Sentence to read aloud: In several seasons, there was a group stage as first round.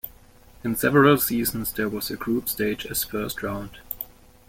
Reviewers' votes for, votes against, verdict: 2, 1, accepted